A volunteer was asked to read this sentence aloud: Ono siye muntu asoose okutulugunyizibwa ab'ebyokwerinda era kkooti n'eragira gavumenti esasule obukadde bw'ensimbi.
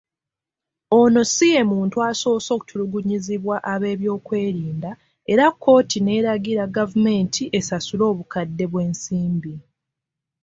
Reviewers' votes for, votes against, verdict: 2, 0, accepted